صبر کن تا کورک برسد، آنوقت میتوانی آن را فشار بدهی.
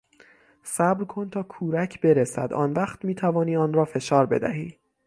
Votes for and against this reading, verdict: 6, 0, accepted